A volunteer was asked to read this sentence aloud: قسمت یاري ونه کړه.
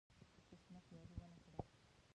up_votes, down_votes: 1, 2